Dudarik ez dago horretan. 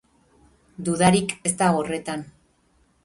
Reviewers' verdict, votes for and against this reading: rejected, 0, 2